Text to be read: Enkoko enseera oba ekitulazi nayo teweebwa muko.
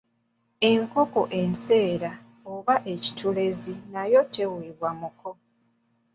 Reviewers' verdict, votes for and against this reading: rejected, 0, 2